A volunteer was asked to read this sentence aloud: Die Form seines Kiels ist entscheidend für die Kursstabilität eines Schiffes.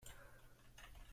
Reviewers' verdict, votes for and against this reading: rejected, 0, 2